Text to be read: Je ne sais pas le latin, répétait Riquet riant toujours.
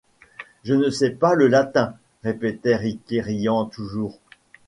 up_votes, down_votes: 2, 0